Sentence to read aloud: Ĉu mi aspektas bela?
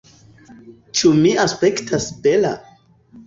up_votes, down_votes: 2, 0